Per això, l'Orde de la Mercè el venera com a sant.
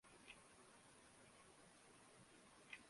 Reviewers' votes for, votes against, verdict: 0, 2, rejected